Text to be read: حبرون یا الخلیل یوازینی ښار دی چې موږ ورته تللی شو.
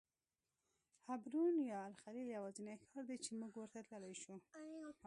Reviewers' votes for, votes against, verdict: 0, 2, rejected